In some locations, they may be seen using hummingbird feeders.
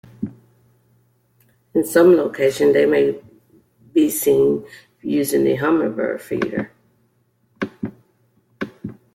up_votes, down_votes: 1, 2